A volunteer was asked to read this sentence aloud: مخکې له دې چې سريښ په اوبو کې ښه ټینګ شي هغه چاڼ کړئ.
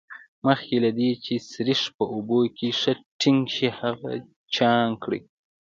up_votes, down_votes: 1, 2